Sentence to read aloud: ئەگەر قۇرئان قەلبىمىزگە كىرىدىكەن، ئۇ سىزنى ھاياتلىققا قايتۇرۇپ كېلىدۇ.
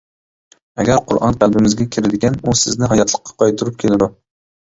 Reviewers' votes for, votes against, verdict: 2, 1, accepted